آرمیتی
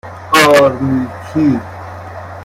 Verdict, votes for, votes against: rejected, 1, 2